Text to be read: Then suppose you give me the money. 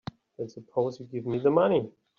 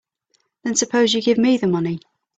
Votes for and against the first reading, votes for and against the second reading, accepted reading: 2, 3, 3, 0, second